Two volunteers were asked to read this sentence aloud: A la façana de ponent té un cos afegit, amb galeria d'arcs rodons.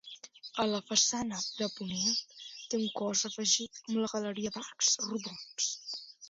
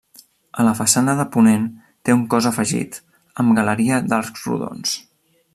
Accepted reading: second